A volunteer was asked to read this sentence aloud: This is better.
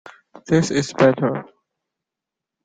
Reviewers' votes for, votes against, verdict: 2, 0, accepted